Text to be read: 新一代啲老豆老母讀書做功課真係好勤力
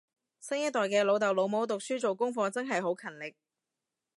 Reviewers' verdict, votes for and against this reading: rejected, 1, 2